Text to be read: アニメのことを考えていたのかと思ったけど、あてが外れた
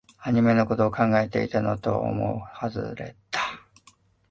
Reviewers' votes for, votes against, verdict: 0, 2, rejected